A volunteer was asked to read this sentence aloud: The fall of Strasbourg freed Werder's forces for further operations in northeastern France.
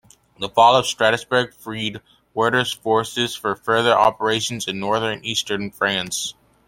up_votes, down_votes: 2, 1